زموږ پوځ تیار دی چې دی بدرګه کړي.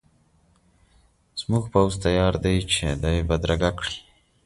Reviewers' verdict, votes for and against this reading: accepted, 2, 0